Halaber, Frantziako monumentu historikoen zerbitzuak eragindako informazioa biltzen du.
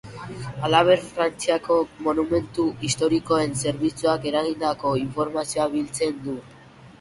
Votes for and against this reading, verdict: 1, 2, rejected